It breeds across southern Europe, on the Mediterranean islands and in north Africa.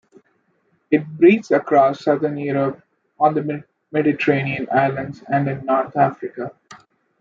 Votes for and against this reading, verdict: 0, 2, rejected